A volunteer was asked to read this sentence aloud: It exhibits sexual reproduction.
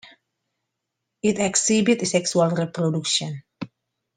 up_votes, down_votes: 2, 1